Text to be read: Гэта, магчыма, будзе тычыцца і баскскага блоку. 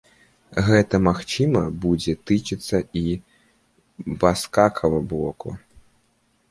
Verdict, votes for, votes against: rejected, 0, 2